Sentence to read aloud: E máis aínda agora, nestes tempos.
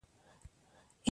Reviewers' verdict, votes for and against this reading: rejected, 0, 2